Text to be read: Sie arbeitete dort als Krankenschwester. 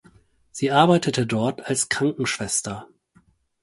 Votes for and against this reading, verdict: 4, 0, accepted